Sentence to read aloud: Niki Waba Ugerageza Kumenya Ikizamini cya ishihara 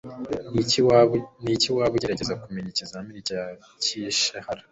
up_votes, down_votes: 2, 1